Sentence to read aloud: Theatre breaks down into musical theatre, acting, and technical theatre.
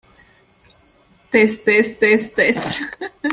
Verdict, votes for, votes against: rejected, 0, 2